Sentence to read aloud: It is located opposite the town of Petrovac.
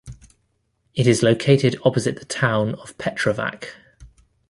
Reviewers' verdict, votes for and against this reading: accepted, 2, 0